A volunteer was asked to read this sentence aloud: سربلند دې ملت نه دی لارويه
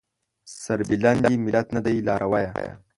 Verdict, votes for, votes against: accepted, 2, 0